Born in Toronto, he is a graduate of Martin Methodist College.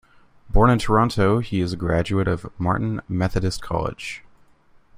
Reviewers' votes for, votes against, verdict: 3, 0, accepted